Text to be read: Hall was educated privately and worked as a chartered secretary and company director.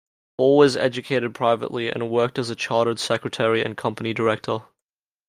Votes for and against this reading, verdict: 1, 2, rejected